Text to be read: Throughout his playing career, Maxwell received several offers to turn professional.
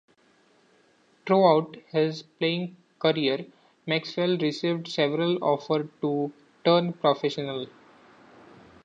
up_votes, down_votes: 2, 0